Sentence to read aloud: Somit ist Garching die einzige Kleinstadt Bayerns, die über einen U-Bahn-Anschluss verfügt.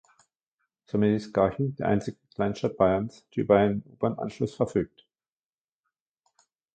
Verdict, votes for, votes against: rejected, 0, 2